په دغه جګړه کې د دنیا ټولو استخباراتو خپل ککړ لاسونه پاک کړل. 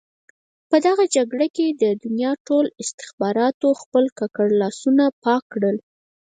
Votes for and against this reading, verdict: 2, 4, rejected